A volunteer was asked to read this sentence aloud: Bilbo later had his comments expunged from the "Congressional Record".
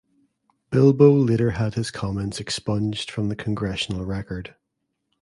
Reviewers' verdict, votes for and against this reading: accepted, 3, 0